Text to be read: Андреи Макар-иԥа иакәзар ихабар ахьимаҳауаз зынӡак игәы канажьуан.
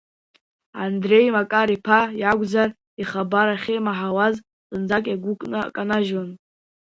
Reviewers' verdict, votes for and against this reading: rejected, 0, 2